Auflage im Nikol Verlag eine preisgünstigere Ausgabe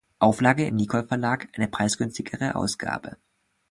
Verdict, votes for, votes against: accepted, 2, 0